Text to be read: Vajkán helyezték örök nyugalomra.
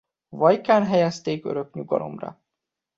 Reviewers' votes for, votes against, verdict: 2, 0, accepted